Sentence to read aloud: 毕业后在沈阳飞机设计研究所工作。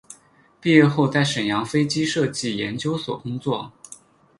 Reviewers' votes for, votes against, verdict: 6, 0, accepted